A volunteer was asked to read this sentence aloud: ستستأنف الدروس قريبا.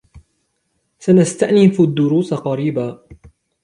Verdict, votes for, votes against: rejected, 1, 2